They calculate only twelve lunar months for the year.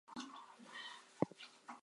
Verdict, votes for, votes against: rejected, 0, 2